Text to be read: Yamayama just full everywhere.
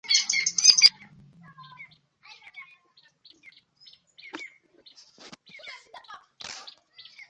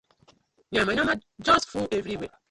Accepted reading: second